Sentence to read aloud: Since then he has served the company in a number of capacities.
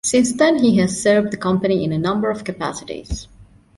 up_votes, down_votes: 2, 0